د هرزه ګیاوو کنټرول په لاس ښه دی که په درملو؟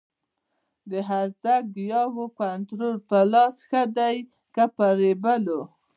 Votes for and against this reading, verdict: 1, 2, rejected